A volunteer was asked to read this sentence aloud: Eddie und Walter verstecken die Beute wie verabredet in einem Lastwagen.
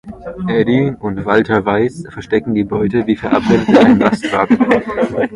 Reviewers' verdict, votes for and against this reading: rejected, 0, 2